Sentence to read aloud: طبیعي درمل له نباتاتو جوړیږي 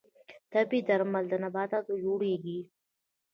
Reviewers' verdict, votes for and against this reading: rejected, 1, 2